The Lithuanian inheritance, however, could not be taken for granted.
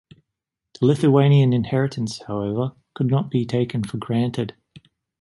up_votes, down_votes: 2, 1